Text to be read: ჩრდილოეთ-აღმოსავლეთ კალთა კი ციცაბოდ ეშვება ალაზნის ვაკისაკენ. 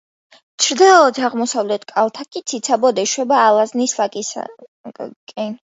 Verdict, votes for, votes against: rejected, 1, 2